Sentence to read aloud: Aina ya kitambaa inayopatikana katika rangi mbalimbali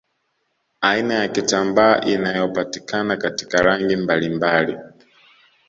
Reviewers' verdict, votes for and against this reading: accepted, 2, 0